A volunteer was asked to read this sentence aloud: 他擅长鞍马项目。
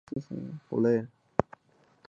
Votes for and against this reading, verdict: 0, 3, rejected